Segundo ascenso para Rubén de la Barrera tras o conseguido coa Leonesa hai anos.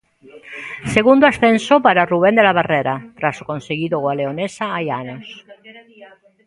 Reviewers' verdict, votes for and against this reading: rejected, 1, 2